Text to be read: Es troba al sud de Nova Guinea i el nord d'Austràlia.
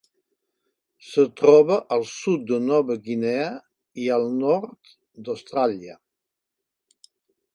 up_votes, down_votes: 2, 0